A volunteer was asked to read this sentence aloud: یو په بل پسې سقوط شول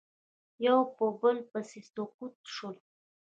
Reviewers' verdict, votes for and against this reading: rejected, 1, 2